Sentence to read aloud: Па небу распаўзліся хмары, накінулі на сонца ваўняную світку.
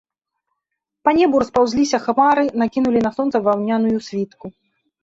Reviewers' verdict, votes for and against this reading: accepted, 2, 0